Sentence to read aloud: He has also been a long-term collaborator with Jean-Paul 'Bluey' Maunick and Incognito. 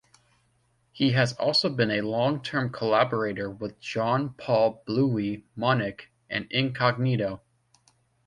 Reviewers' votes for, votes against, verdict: 2, 0, accepted